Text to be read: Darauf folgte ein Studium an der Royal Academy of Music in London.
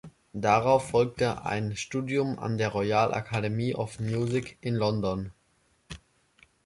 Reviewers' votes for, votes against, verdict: 1, 2, rejected